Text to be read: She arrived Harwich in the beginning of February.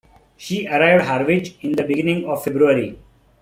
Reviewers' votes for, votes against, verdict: 0, 2, rejected